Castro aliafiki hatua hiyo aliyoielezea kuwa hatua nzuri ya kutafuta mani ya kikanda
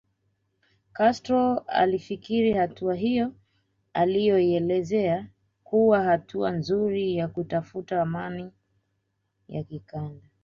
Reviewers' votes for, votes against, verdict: 2, 0, accepted